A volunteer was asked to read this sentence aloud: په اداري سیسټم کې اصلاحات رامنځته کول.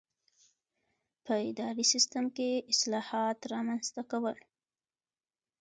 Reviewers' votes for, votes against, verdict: 2, 1, accepted